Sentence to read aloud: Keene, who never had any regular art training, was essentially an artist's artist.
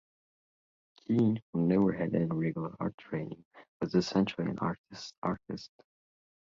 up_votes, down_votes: 2, 0